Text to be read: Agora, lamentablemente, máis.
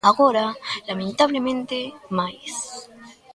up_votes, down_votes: 1, 2